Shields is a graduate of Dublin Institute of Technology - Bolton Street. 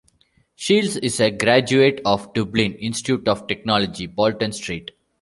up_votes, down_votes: 2, 0